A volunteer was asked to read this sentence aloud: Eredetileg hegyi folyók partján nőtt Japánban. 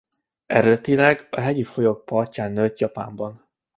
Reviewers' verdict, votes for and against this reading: rejected, 1, 2